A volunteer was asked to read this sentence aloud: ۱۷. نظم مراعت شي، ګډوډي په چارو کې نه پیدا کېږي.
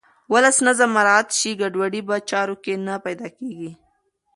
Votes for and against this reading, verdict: 0, 2, rejected